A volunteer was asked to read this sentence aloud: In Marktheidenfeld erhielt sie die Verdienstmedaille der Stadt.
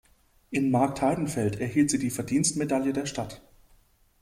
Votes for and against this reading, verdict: 2, 0, accepted